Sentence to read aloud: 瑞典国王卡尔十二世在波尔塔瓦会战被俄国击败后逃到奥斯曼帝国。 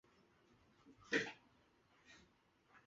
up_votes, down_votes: 0, 2